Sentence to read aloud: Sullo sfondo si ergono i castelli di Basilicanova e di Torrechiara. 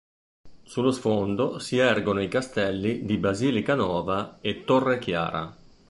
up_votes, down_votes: 0, 2